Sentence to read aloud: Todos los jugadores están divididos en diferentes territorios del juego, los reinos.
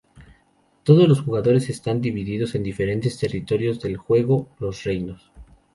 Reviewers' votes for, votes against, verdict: 2, 0, accepted